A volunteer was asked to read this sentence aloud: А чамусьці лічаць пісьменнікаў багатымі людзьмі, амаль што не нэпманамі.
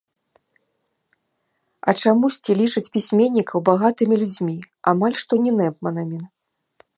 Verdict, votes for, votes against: rejected, 0, 2